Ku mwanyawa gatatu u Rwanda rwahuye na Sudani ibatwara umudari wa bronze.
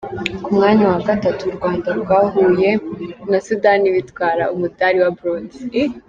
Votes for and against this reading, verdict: 1, 3, rejected